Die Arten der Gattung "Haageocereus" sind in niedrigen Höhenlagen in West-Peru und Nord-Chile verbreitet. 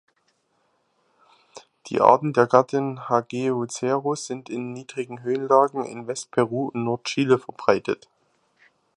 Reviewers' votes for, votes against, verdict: 0, 2, rejected